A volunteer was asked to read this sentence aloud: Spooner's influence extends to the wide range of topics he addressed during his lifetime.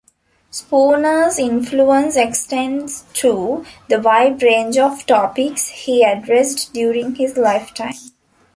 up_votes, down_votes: 2, 1